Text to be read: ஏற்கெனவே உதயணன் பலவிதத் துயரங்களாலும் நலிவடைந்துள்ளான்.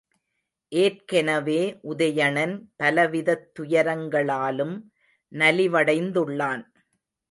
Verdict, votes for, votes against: accepted, 2, 0